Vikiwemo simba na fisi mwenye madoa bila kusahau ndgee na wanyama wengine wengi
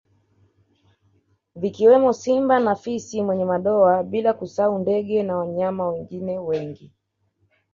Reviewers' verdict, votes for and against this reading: accepted, 2, 0